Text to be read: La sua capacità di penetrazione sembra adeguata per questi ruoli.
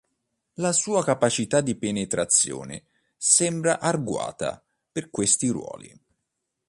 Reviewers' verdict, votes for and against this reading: rejected, 2, 3